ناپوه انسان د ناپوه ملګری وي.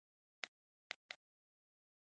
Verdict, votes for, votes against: rejected, 1, 2